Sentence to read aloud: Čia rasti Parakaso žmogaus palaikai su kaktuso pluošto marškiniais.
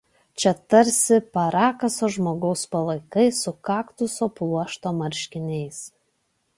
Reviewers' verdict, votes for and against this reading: rejected, 0, 2